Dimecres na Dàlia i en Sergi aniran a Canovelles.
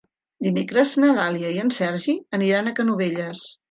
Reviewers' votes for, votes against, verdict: 3, 0, accepted